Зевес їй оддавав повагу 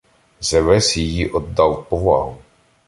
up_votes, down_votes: 0, 2